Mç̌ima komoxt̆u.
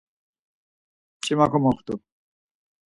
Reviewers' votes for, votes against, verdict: 4, 0, accepted